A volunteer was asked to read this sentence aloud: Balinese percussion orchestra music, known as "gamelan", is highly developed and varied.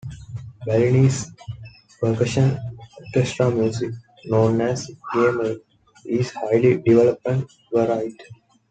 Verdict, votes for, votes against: rejected, 0, 2